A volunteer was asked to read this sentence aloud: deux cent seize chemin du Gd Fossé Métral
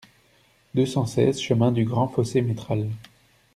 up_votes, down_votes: 1, 2